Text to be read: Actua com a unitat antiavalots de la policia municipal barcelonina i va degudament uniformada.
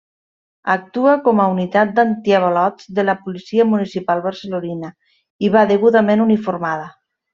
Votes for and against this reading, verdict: 1, 2, rejected